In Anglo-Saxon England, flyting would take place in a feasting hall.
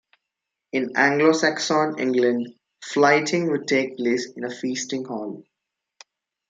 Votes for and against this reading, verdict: 1, 2, rejected